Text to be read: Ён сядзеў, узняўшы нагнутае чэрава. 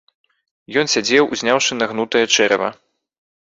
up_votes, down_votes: 3, 0